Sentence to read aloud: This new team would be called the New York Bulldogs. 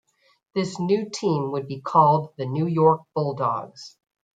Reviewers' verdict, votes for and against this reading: accepted, 2, 1